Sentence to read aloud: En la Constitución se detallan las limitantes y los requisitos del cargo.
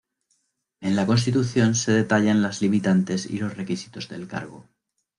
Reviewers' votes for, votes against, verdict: 2, 0, accepted